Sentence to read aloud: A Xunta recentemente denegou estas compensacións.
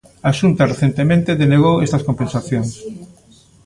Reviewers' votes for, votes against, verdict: 1, 2, rejected